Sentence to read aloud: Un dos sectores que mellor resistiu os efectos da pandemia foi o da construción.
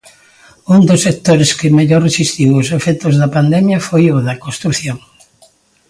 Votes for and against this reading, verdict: 2, 0, accepted